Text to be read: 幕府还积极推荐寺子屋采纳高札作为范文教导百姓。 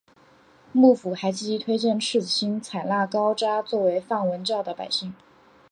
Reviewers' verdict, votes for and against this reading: rejected, 1, 2